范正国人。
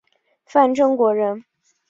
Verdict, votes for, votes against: accepted, 2, 0